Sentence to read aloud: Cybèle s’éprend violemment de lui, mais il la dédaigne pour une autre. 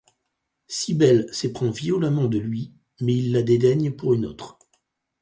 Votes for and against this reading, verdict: 4, 0, accepted